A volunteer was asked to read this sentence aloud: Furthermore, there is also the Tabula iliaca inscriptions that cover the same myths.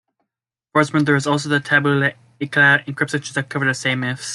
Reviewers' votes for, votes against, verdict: 0, 2, rejected